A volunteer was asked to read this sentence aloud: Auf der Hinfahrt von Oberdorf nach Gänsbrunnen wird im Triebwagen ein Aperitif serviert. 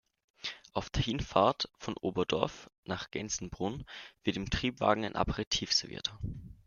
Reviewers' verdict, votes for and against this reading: rejected, 0, 2